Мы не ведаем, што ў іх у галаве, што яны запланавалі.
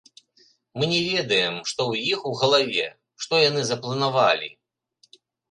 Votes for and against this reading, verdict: 2, 1, accepted